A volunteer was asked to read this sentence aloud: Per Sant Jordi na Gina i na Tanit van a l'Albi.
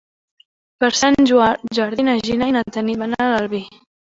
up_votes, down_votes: 0, 3